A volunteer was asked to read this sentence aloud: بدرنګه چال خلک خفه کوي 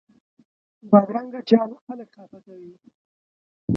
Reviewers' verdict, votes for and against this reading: rejected, 0, 2